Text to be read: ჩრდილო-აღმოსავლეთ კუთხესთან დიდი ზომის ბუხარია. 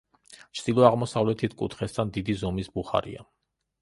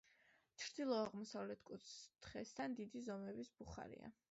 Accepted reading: second